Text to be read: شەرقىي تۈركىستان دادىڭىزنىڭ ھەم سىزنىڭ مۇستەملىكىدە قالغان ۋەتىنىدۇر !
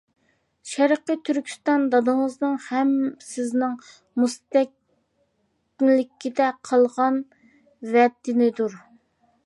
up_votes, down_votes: 0, 2